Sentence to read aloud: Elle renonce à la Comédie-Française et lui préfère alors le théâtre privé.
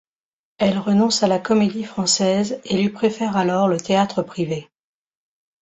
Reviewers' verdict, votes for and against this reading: accepted, 2, 0